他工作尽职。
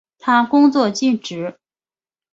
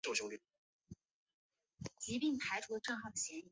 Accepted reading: first